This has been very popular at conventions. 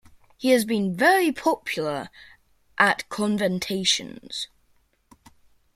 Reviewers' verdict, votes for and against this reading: rejected, 0, 2